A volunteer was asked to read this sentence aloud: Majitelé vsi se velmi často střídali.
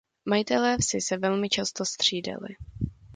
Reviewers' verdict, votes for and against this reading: accepted, 2, 0